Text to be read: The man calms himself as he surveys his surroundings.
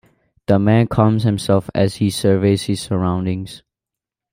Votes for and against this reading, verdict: 2, 0, accepted